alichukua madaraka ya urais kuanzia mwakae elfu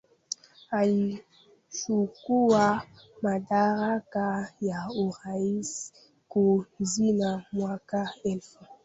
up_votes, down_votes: 0, 2